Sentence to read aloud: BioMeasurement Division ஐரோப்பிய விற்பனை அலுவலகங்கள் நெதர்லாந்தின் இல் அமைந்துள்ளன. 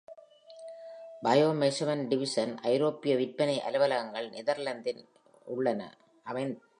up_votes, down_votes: 0, 2